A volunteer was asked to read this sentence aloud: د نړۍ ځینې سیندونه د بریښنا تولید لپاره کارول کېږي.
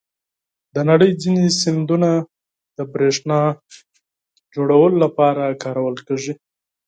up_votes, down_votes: 2, 4